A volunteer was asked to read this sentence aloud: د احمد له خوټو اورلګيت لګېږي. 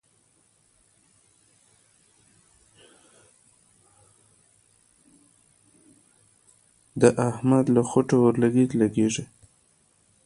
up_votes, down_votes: 1, 2